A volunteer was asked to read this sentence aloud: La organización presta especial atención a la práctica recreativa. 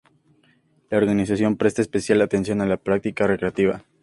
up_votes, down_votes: 2, 0